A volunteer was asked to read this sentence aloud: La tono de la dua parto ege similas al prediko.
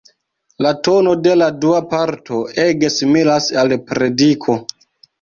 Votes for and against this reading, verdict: 1, 2, rejected